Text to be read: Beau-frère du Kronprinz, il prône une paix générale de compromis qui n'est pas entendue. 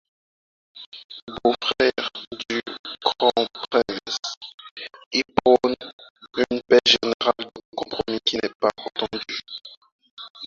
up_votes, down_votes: 0, 4